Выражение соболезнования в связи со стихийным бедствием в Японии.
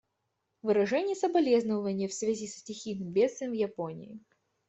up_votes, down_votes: 2, 0